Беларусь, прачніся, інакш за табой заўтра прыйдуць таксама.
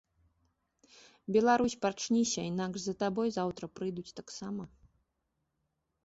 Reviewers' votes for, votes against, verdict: 0, 2, rejected